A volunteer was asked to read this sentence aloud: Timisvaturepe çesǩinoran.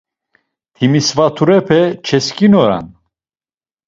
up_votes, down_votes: 1, 2